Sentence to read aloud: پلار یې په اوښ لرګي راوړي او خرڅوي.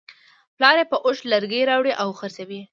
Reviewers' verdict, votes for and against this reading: accepted, 2, 0